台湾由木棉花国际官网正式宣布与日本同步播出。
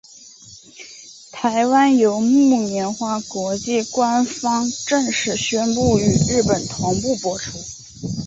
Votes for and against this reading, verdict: 0, 2, rejected